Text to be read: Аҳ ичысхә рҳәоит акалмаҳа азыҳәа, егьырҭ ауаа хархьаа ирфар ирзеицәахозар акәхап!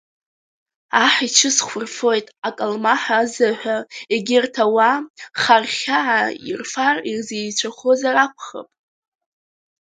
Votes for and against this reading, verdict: 1, 2, rejected